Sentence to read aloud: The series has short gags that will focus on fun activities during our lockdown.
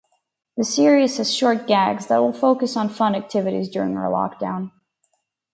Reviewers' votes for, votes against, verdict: 4, 0, accepted